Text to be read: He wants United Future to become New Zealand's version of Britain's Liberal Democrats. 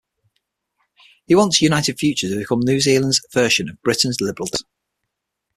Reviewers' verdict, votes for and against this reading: rejected, 3, 6